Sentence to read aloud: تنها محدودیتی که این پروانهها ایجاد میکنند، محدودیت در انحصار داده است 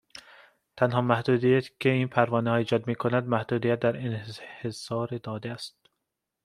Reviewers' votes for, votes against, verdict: 2, 1, accepted